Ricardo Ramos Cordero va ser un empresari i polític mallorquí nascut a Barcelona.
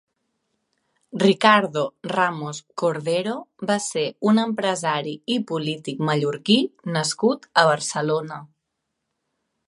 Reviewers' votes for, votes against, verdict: 4, 0, accepted